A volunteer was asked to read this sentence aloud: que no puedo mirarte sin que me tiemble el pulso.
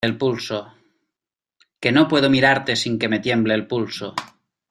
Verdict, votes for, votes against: rejected, 0, 2